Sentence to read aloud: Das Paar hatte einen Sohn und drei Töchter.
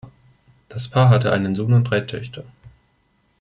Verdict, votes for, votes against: accepted, 2, 0